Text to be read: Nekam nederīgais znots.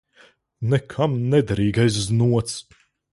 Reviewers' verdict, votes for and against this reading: accepted, 3, 0